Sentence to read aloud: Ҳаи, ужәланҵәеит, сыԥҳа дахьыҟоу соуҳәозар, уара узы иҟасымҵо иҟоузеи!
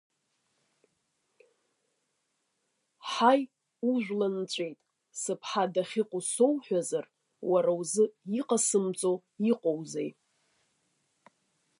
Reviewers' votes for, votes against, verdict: 2, 1, accepted